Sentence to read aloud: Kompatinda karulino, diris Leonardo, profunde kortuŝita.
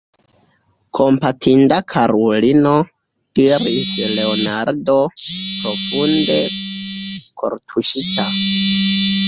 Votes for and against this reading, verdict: 0, 2, rejected